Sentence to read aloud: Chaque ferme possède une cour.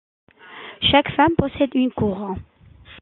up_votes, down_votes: 0, 2